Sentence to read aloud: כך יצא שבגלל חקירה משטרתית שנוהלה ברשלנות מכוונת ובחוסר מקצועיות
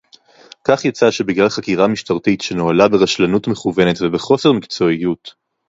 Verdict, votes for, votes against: rejected, 2, 2